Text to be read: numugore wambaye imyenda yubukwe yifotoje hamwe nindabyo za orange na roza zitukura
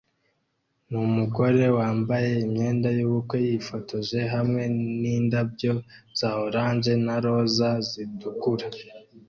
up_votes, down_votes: 2, 0